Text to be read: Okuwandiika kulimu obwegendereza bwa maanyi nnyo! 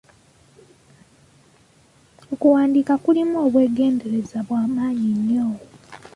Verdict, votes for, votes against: accepted, 2, 1